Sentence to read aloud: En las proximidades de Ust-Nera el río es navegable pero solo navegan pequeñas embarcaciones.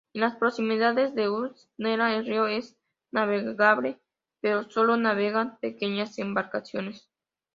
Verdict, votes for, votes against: accepted, 2, 0